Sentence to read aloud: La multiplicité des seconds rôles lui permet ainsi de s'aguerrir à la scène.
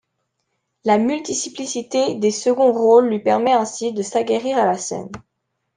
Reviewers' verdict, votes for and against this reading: rejected, 0, 2